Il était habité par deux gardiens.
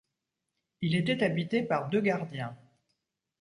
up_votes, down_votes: 2, 0